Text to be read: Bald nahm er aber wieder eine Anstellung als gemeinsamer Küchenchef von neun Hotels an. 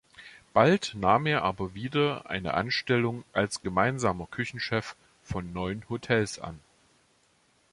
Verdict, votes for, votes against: accepted, 2, 0